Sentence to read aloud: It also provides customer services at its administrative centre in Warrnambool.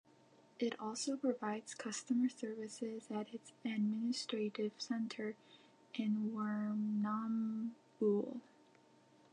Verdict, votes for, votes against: rejected, 0, 2